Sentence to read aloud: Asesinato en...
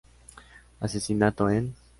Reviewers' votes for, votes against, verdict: 3, 0, accepted